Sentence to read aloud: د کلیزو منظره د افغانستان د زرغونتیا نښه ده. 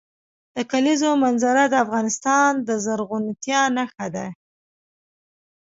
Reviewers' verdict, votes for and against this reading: accepted, 2, 0